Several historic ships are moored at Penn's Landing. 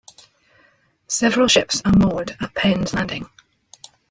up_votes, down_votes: 0, 2